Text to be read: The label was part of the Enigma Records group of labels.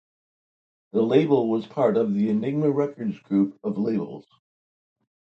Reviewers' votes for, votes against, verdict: 2, 0, accepted